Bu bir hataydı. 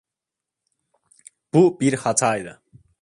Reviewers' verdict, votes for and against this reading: accepted, 2, 0